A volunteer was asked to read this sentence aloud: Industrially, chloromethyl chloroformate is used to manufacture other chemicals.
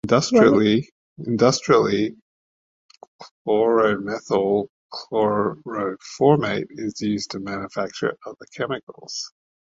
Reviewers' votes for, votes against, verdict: 0, 2, rejected